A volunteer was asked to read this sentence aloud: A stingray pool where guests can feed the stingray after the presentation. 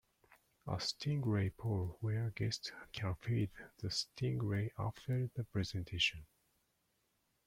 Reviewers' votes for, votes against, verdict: 0, 2, rejected